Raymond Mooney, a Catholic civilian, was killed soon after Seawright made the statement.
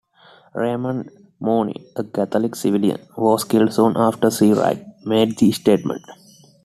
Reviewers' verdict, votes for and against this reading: accepted, 2, 0